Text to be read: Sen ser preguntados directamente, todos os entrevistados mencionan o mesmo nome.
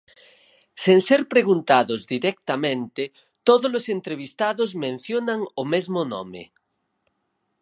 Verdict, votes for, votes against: accepted, 4, 0